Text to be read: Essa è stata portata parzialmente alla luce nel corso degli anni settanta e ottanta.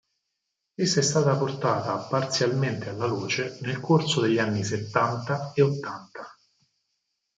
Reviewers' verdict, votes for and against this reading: rejected, 2, 4